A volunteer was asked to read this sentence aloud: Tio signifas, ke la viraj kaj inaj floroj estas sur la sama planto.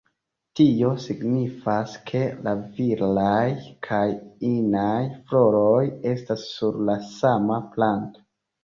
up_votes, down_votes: 2, 1